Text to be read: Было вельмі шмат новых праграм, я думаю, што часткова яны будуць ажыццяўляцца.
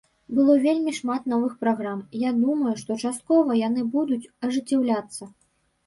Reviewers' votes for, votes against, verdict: 2, 0, accepted